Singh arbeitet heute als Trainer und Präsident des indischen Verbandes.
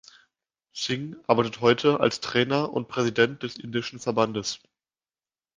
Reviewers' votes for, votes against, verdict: 2, 0, accepted